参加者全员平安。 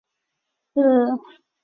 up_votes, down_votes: 1, 3